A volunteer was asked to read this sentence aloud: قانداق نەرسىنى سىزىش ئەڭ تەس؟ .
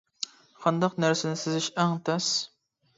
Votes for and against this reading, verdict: 2, 0, accepted